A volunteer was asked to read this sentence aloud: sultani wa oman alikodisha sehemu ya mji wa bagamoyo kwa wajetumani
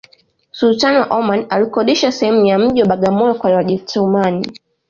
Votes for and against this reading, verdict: 2, 0, accepted